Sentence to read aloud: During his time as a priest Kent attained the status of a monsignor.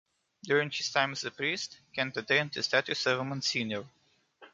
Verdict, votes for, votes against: accepted, 2, 0